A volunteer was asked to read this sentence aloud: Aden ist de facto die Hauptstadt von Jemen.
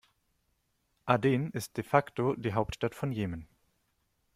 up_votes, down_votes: 2, 0